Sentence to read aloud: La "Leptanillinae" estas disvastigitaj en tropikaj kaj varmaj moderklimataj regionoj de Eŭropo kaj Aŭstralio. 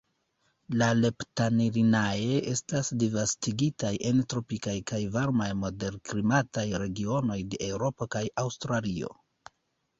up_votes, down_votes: 2, 3